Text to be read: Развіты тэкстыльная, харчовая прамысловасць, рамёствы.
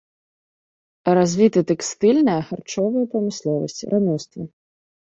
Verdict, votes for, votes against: accepted, 2, 0